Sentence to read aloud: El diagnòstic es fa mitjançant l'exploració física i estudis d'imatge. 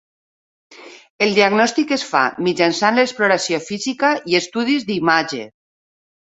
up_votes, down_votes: 12, 0